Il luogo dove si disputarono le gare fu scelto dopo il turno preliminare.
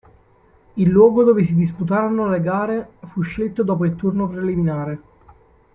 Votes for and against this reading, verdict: 2, 0, accepted